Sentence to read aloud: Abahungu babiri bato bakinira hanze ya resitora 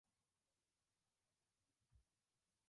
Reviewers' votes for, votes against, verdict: 0, 2, rejected